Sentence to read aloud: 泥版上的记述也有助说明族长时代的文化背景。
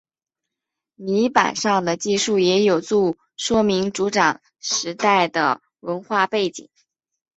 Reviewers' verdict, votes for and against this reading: accepted, 2, 0